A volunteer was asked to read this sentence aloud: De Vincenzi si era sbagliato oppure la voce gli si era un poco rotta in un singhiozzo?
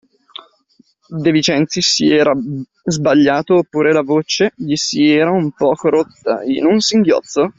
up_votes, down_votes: 1, 2